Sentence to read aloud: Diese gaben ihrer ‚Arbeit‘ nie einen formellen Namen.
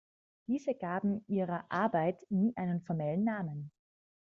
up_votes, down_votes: 2, 0